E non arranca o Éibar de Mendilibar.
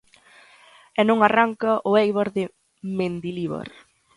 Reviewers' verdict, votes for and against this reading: accepted, 2, 0